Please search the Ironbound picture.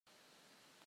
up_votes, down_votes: 0, 2